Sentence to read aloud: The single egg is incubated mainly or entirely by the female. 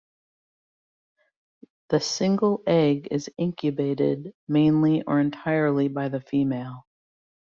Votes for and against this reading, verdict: 2, 0, accepted